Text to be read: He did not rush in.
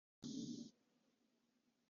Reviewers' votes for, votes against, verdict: 0, 2, rejected